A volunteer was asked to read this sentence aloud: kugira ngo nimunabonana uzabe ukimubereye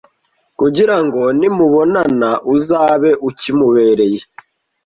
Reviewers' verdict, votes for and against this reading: rejected, 1, 2